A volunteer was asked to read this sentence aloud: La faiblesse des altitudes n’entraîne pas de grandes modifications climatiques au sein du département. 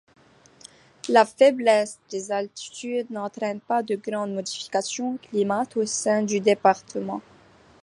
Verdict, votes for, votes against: rejected, 0, 2